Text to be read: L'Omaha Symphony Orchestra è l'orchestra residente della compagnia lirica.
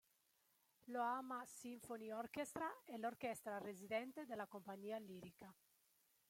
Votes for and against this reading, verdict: 1, 2, rejected